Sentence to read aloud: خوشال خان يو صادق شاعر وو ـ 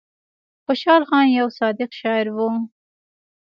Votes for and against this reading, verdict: 3, 0, accepted